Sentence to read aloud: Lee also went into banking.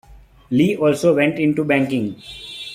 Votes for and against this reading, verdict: 2, 0, accepted